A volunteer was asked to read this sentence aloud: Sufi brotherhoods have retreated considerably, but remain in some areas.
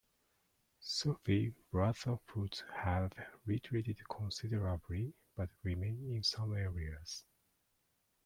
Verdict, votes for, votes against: accepted, 2, 0